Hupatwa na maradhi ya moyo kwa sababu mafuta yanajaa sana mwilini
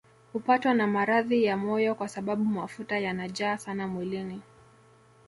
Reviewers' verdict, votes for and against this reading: accepted, 2, 0